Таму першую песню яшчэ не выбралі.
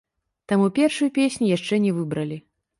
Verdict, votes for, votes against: rejected, 1, 2